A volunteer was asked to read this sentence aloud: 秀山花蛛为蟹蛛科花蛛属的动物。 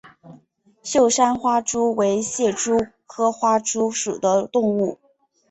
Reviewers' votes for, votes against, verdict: 2, 0, accepted